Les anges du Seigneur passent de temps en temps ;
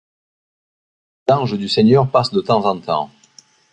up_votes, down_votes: 2, 3